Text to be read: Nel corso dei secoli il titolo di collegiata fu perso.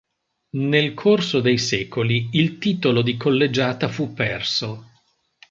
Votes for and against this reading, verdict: 3, 0, accepted